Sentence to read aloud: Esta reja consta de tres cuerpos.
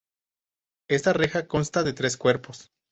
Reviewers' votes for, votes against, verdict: 4, 0, accepted